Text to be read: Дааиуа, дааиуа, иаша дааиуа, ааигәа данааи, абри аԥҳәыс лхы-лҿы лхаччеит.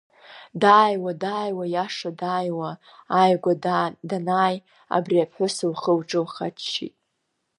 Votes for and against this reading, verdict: 1, 2, rejected